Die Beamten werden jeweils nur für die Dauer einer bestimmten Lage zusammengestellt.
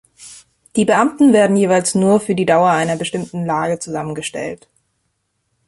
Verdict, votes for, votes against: accepted, 2, 0